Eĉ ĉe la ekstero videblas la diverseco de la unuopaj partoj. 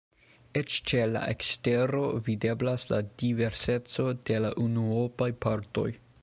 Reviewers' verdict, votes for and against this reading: accepted, 2, 1